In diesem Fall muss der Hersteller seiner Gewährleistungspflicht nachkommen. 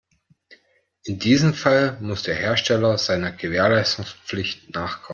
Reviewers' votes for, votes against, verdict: 2, 0, accepted